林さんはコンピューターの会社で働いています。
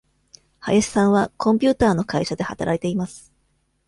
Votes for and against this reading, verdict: 2, 0, accepted